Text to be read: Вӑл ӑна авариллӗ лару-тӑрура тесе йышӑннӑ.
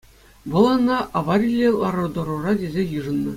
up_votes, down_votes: 2, 0